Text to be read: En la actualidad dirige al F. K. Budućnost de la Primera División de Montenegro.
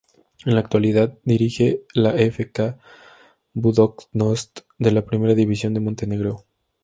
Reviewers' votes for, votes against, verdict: 2, 0, accepted